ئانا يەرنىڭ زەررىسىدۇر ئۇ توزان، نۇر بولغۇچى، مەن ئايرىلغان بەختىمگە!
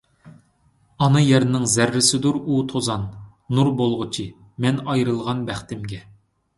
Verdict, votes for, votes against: accepted, 2, 0